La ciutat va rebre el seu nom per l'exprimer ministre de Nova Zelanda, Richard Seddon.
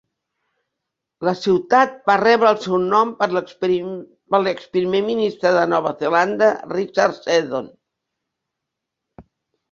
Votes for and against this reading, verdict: 0, 2, rejected